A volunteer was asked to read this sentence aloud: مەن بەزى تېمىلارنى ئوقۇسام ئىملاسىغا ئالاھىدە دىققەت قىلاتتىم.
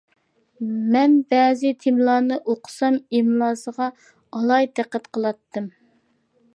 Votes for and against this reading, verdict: 2, 0, accepted